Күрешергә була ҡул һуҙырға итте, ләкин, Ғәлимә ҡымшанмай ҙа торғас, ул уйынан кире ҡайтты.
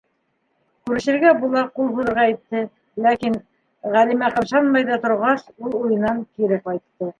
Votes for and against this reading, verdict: 1, 2, rejected